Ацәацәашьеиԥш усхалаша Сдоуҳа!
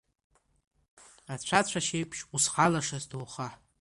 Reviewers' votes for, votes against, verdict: 1, 2, rejected